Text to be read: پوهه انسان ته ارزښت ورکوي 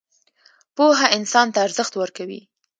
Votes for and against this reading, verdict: 2, 0, accepted